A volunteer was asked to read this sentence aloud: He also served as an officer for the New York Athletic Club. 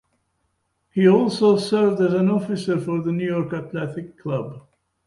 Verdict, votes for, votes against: accepted, 2, 0